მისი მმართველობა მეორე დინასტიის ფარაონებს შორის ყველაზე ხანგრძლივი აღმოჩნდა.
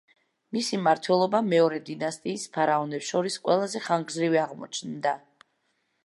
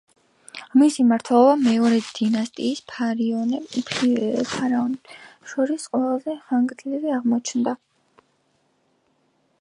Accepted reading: first